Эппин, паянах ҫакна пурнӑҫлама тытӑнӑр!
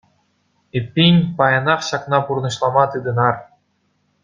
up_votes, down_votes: 0, 2